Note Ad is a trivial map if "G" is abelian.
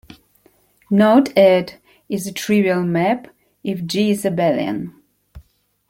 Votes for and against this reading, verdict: 1, 2, rejected